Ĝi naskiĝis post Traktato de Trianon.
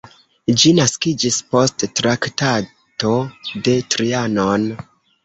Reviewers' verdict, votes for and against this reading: rejected, 1, 2